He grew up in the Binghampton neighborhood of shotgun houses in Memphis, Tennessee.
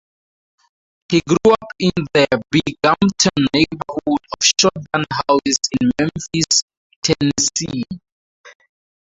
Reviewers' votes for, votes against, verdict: 2, 2, rejected